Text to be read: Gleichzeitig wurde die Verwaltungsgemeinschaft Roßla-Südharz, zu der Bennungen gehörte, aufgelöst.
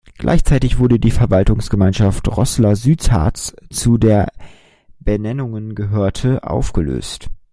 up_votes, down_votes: 1, 2